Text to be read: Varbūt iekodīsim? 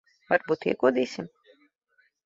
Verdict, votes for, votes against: accepted, 2, 0